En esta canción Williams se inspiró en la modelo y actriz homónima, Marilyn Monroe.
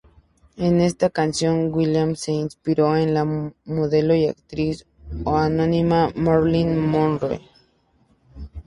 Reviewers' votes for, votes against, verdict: 2, 2, rejected